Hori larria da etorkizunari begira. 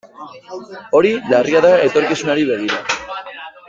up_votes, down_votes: 1, 2